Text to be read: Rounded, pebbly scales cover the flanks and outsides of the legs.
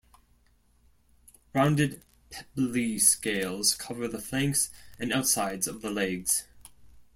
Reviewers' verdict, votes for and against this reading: rejected, 1, 2